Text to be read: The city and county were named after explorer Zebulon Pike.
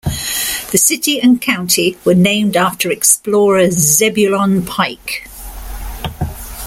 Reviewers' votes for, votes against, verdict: 2, 0, accepted